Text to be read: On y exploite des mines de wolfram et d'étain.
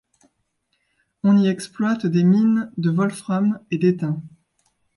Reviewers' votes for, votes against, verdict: 2, 0, accepted